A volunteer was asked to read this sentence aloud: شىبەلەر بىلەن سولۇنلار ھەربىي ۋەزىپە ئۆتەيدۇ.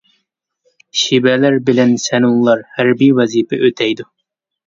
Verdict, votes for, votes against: rejected, 0, 2